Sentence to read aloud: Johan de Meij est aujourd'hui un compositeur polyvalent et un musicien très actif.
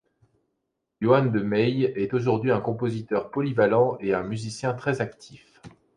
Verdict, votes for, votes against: accepted, 2, 0